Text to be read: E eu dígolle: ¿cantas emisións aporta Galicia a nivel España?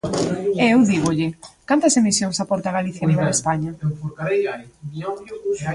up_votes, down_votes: 1, 2